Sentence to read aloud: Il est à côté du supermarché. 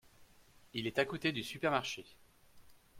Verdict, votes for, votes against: accepted, 2, 0